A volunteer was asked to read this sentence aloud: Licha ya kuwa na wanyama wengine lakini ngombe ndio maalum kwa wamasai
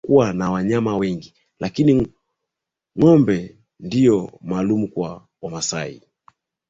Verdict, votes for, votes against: accepted, 9, 2